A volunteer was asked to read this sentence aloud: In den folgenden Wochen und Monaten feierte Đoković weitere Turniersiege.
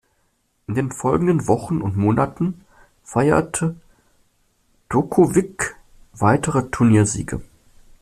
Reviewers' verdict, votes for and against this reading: rejected, 1, 2